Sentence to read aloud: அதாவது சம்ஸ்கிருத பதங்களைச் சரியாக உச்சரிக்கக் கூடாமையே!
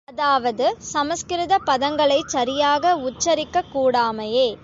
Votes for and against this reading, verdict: 4, 0, accepted